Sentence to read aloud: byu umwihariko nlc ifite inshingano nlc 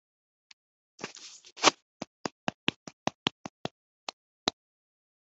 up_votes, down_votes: 1, 2